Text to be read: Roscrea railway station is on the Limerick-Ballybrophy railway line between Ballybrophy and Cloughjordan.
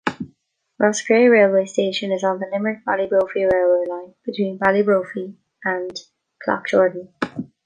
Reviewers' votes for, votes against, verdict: 0, 2, rejected